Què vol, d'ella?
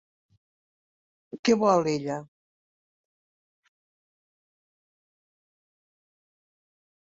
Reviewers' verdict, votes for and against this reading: rejected, 1, 2